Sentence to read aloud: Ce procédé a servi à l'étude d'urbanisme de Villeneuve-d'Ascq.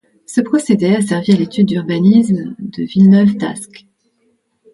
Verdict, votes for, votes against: accepted, 2, 0